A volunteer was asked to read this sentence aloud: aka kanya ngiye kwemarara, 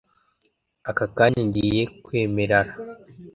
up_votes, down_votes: 0, 2